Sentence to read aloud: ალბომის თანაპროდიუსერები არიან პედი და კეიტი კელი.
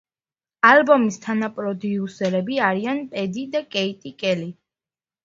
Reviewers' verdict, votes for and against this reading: accepted, 2, 0